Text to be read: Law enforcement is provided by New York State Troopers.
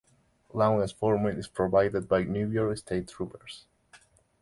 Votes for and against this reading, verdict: 0, 2, rejected